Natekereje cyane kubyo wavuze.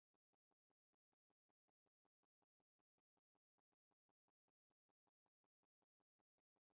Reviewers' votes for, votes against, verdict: 1, 2, rejected